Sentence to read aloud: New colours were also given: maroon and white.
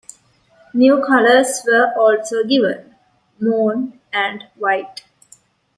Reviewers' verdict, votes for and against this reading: rejected, 0, 2